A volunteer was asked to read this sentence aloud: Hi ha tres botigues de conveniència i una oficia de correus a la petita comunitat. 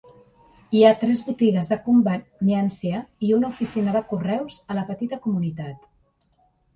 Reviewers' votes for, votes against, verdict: 2, 0, accepted